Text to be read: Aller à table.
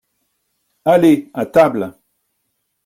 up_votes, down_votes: 2, 0